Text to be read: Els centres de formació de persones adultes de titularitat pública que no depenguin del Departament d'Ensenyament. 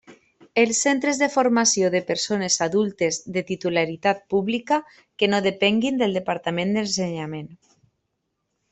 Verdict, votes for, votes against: accepted, 2, 0